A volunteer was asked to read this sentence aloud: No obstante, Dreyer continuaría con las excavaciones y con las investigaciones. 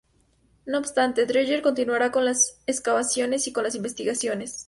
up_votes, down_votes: 2, 2